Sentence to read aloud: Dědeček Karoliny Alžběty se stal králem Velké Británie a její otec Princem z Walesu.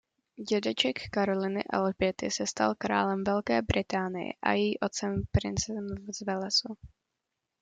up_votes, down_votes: 0, 2